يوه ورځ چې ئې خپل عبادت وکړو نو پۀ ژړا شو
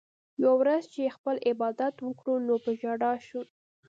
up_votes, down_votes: 2, 0